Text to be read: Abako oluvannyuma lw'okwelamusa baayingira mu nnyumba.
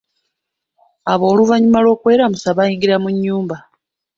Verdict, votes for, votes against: rejected, 0, 2